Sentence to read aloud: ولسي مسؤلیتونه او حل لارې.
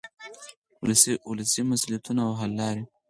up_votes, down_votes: 2, 4